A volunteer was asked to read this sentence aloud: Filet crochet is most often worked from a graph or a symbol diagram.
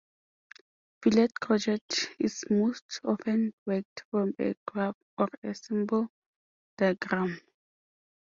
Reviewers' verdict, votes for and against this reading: accepted, 2, 0